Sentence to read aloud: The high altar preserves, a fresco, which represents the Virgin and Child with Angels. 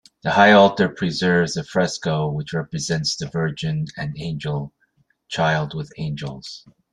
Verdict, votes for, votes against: rejected, 1, 2